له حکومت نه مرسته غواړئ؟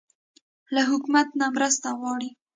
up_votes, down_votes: 2, 0